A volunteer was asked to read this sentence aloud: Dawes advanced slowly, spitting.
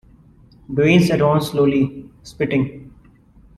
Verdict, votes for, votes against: accepted, 2, 1